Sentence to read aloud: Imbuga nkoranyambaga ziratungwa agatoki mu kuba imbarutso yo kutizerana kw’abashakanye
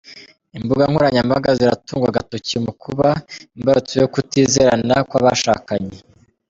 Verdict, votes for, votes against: rejected, 1, 2